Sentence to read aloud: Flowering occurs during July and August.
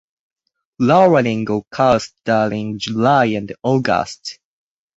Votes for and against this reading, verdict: 4, 2, accepted